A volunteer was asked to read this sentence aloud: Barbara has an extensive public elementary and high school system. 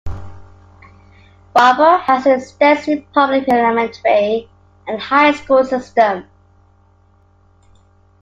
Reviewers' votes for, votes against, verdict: 0, 2, rejected